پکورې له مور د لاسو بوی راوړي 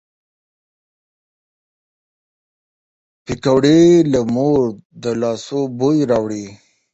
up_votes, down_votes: 7, 14